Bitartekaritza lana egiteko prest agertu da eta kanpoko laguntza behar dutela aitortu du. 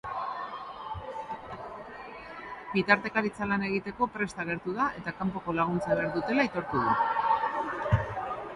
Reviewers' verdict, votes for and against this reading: accepted, 2, 0